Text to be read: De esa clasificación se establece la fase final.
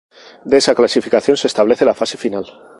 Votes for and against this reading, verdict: 4, 0, accepted